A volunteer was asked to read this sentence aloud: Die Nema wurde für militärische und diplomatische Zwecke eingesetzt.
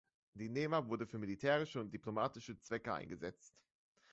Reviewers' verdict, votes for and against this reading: accepted, 2, 0